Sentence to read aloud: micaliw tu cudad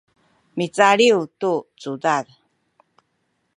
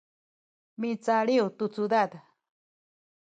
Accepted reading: first